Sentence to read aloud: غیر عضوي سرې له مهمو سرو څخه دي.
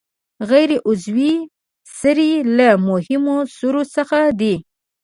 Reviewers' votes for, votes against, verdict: 0, 2, rejected